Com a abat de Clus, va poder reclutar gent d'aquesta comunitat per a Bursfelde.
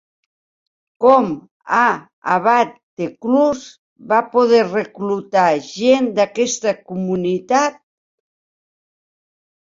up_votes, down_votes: 0, 2